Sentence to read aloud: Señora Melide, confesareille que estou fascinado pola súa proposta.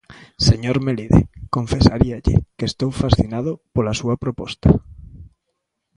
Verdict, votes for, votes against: rejected, 0, 2